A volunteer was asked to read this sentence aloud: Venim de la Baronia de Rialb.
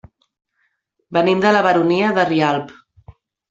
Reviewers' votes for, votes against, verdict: 2, 0, accepted